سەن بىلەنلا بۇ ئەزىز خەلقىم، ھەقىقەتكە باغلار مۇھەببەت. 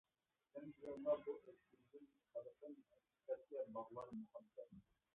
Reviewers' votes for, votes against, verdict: 0, 2, rejected